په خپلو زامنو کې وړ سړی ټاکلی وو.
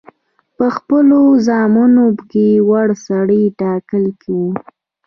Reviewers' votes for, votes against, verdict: 3, 0, accepted